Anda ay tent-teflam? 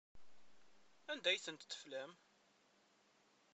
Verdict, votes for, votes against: rejected, 1, 2